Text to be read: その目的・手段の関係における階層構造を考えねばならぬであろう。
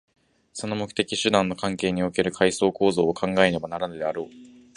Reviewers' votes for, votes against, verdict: 2, 0, accepted